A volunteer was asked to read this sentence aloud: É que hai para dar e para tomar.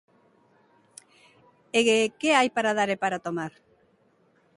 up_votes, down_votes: 0, 2